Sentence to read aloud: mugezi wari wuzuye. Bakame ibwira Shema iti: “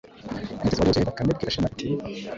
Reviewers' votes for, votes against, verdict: 1, 2, rejected